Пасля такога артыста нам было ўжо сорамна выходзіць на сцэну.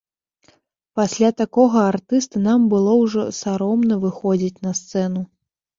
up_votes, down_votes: 0, 2